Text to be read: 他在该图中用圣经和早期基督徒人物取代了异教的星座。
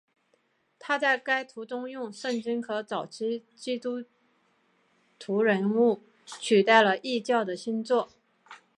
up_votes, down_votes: 2, 1